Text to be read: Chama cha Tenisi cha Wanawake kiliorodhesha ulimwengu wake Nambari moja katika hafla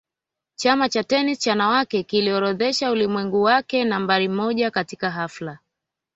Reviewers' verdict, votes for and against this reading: rejected, 0, 2